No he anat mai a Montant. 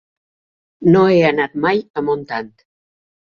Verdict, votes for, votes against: accepted, 3, 0